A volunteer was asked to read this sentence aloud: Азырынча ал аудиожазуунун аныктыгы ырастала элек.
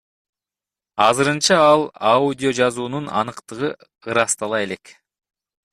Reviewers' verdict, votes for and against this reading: rejected, 1, 2